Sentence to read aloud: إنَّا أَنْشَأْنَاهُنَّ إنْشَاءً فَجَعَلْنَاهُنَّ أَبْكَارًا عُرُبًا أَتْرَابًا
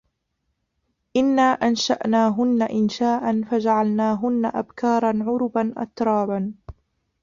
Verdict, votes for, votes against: rejected, 0, 2